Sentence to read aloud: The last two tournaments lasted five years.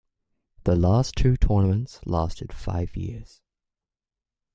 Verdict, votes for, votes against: accepted, 2, 0